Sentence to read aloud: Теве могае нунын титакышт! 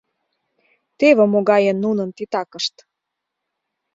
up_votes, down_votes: 2, 0